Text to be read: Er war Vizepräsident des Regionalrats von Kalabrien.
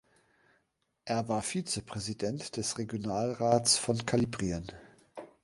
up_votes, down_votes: 0, 2